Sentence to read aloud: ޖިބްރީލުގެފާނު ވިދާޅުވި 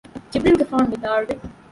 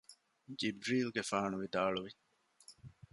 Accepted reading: second